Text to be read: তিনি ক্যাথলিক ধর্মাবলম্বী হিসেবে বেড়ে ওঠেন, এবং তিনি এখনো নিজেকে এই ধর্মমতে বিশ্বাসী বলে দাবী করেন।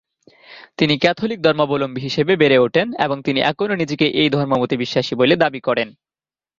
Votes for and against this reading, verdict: 0, 2, rejected